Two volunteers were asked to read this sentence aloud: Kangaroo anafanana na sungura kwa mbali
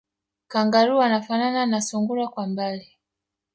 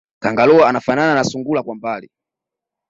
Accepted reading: second